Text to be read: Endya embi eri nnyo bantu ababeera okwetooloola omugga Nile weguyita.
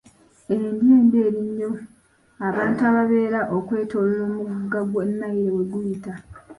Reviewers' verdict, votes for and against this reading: rejected, 0, 2